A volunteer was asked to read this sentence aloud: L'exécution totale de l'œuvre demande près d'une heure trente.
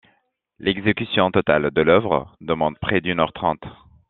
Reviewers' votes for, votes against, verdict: 1, 2, rejected